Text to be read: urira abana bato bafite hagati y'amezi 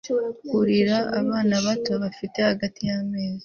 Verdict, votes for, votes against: accepted, 2, 0